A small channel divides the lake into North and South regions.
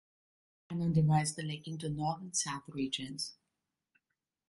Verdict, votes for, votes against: rejected, 1, 2